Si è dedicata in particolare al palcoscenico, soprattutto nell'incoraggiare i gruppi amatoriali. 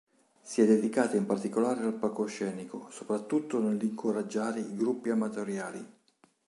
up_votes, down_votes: 4, 1